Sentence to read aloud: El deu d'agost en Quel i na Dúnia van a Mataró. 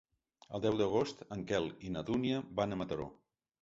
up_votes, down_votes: 2, 0